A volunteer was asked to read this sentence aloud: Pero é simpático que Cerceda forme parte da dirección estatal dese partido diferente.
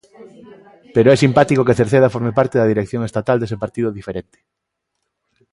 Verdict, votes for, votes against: accepted, 2, 0